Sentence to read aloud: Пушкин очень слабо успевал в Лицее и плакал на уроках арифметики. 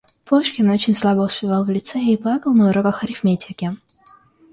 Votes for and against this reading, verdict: 2, 0, accepted